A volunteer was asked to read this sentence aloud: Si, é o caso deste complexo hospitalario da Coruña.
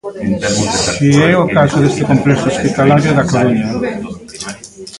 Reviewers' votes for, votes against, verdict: 0, 3, rejected